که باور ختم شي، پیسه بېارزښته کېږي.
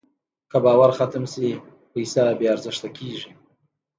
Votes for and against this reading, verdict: 1, 2, rejected